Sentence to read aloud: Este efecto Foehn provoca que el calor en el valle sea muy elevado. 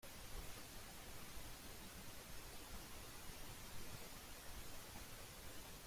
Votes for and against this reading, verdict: 0, 2, rejected